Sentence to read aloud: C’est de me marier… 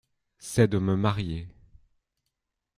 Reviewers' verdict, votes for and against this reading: accepted, 2, 0